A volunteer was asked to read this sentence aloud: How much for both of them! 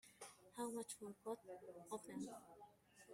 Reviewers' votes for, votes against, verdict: 0, 2, rejected